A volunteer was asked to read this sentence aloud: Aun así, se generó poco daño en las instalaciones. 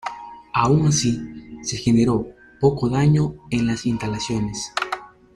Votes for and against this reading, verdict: 0, 2, rejected